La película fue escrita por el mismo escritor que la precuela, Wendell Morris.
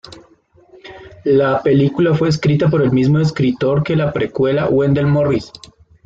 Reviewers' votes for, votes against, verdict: 2, 0, accepted